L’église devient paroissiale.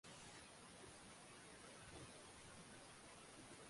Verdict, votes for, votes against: rejected, 0, 2